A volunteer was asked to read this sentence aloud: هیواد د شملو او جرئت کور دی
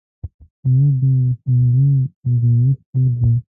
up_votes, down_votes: 1, 2